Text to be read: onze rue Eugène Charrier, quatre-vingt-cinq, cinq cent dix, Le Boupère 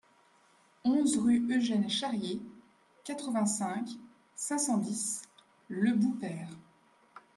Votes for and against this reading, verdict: 2, 0, accepted